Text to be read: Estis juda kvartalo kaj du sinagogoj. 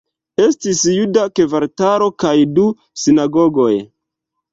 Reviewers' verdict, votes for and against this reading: accepted, 2, 0